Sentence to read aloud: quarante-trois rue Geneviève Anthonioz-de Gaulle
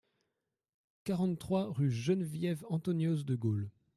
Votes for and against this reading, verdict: 2, 0, accepted